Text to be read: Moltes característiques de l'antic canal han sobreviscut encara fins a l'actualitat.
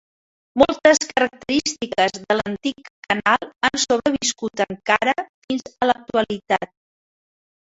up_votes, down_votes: 1, 2